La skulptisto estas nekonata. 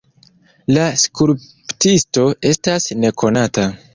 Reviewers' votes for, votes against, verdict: 2, 0, accepted